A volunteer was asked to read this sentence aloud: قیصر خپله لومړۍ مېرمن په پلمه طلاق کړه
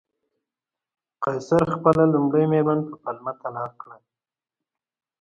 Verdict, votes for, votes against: accepted, 2, 0